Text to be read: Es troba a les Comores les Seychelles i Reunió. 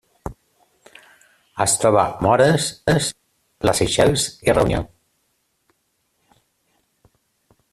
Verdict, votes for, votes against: rejected, 0, 2